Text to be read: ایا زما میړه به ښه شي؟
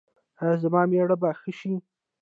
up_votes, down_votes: 2, 1